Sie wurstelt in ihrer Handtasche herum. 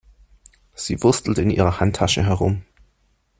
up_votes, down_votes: 2, 0